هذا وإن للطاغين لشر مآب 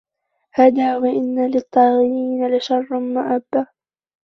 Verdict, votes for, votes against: rejected, 0, 2